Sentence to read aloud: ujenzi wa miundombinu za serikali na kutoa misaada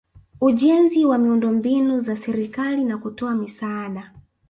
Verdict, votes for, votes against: rejected, 1, 2